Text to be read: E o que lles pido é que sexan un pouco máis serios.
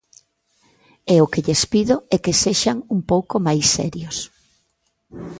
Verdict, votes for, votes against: accepted, 2, 0